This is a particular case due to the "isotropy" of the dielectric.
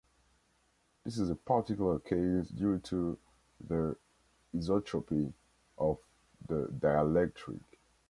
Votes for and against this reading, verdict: 1, 2, rejected